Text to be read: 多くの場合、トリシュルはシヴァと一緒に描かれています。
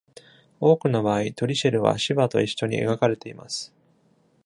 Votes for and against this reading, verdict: 2, 0, accepted